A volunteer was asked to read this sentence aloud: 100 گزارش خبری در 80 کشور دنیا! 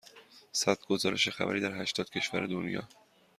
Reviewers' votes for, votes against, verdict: 0, 2, rejected